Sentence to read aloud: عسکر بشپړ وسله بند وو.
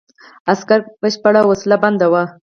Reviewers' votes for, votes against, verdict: 2, 4, rejected